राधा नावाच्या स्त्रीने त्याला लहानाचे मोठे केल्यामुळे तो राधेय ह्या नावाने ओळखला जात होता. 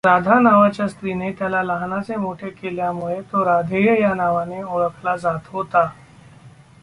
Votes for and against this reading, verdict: 2, 0, accepted